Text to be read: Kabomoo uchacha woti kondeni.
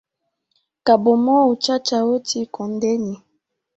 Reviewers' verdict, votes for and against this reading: rejected, 1, 2